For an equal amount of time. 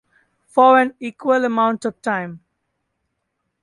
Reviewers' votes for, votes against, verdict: 2, 0, accepted